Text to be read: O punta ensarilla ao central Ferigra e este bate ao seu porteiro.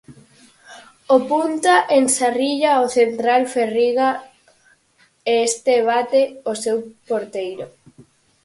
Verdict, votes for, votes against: rejected, 2, 4